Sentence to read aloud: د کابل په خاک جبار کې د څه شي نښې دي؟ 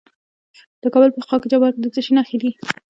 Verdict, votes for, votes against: accepted, 2, 1